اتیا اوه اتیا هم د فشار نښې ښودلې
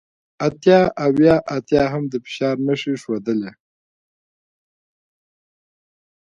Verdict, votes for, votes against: accepted, 2, 0